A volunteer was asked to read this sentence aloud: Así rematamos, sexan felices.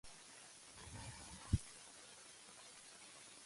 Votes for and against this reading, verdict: 0, 2, rejected